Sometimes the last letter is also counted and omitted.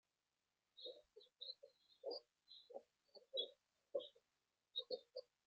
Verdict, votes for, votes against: rejected, 0, 2